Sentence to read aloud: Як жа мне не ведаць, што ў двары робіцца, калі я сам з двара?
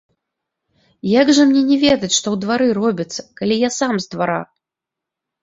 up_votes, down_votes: 1, 2